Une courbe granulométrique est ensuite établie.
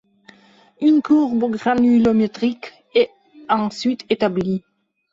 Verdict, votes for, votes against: accepted, 2, 0